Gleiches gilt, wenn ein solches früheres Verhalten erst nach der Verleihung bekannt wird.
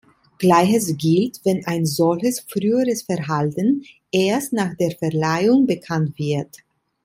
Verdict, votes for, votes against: accepted, 2, 0